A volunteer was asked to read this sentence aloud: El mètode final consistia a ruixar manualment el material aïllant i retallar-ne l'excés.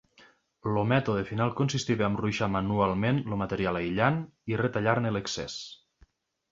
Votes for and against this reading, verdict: 1, 2, rejected